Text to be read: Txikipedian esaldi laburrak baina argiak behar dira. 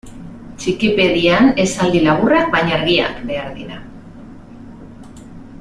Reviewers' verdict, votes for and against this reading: accepted, 2, 0